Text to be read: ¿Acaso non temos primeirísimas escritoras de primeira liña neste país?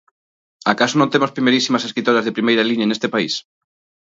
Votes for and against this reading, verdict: 23, 1, accepted